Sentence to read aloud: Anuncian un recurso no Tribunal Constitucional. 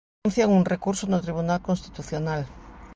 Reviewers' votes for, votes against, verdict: 1, 2, rejected